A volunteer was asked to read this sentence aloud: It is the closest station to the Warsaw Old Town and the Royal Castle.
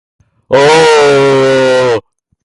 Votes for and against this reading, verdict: 0, 2, rejected